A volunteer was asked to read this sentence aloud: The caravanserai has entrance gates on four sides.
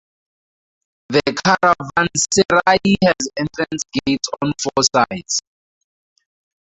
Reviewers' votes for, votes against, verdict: 0, 2, rejected